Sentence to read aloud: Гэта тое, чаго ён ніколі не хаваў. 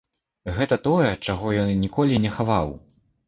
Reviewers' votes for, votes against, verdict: 2, 0, accepted